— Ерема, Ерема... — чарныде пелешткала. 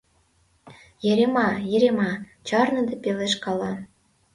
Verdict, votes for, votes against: rejected, 1, 2